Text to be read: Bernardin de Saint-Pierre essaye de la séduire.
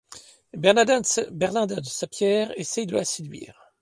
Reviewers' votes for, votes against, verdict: 1, 2, rejected